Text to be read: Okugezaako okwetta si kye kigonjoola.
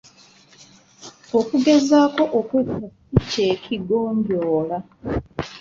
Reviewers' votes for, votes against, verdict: 1, 2, rejected